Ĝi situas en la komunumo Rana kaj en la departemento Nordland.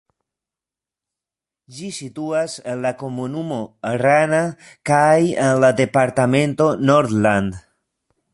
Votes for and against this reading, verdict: 0, 2, rejected